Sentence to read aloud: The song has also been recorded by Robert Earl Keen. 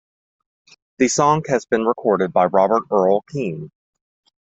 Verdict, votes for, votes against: rejected, 1, 2